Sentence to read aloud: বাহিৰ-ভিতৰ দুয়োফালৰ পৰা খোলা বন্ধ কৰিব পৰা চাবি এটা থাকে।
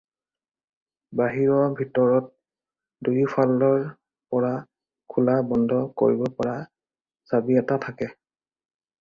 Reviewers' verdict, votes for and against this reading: rejected, 2, 4